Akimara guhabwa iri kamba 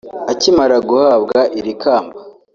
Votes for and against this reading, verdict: 2, 0, accepted